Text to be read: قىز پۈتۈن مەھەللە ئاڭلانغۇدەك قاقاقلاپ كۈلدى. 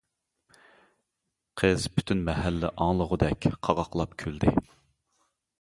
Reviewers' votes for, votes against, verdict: 1, 2, rejected